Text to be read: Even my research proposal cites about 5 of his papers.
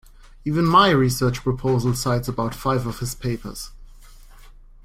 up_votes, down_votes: 0, 2